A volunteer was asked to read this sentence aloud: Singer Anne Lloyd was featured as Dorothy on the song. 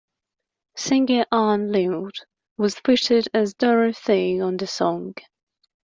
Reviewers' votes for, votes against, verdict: 2, 1, accepted